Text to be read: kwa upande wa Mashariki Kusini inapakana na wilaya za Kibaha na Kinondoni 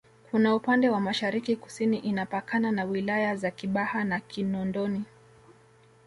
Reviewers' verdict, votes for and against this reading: accepted, 2, 0